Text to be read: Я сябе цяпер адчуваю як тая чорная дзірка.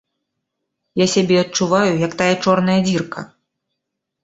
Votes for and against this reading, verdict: 0, 2, rejected